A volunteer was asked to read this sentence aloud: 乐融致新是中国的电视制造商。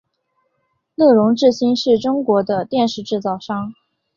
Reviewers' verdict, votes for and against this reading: accepted, 5, 0